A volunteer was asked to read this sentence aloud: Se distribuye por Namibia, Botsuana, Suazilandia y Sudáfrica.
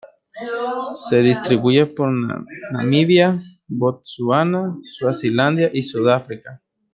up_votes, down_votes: 1, 2